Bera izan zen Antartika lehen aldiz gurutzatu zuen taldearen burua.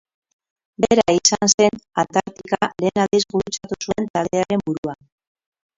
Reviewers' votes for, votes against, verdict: 0, 6, rejected